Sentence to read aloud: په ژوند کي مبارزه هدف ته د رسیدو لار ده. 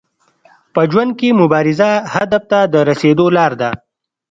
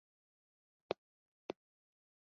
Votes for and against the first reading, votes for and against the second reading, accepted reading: 2, 0, 0, 2, first